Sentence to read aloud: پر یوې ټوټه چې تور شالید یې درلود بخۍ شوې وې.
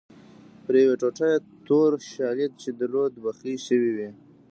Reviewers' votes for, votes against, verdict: 0, 2, rejected